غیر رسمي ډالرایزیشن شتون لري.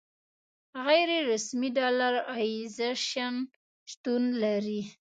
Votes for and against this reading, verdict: 2, 0, accepted